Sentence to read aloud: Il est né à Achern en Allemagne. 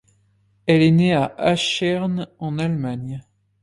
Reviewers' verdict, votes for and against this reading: rejected, 1, 2